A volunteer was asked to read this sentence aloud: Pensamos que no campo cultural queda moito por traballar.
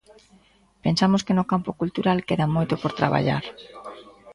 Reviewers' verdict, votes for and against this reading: rejected, 1, 2